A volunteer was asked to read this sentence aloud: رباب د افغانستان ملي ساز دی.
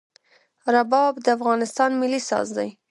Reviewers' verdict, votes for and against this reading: accepted, 2, 1